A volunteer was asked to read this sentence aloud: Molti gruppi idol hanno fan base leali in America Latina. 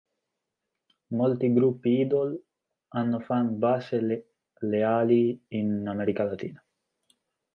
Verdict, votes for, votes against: rejected, 0, 2